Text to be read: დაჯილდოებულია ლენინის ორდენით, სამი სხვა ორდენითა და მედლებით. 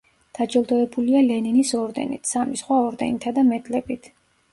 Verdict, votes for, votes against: rejected, 1, 2